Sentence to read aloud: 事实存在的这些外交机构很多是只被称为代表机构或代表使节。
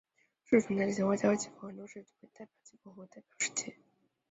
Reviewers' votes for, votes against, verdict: 0, 3, rejected